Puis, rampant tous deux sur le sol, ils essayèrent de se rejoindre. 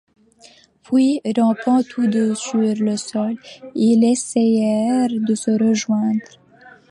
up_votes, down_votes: 2, 0